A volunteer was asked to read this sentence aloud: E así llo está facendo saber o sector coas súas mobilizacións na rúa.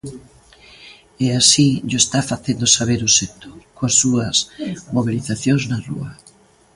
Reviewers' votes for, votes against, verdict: 2, 0, accepted